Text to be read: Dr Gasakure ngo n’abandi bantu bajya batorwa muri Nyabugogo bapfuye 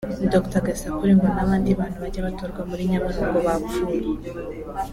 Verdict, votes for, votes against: rejected, 1, 2